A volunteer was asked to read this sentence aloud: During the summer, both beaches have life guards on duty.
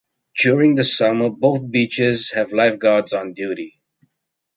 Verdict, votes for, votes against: accepted, 2, 1